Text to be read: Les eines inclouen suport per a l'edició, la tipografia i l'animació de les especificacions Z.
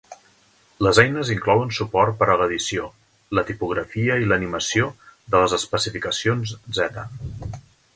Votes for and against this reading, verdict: 3, 0, accepted